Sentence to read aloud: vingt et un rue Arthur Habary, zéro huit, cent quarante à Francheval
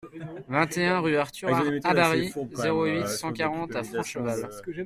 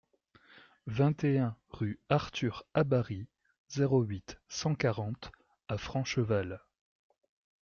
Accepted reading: second